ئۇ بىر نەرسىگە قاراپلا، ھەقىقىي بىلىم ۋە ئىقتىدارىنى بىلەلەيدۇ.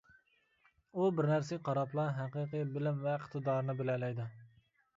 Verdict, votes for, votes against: accepted, 2, 0